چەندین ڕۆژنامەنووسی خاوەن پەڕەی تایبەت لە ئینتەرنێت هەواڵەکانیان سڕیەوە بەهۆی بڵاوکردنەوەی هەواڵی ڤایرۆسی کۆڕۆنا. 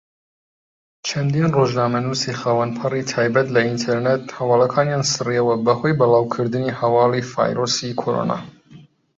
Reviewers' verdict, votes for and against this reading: rejected, 1, 2